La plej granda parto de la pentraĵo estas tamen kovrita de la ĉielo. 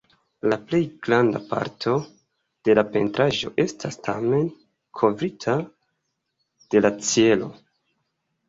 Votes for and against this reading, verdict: 2, 1, accepted